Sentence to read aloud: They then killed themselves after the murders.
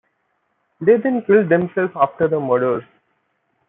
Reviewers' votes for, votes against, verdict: 1, 2, rejected